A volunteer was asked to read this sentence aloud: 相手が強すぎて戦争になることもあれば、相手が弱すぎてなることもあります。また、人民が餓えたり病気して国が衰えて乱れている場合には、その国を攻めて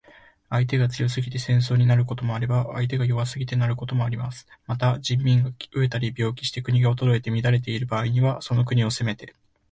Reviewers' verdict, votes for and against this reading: accepted, 2, 0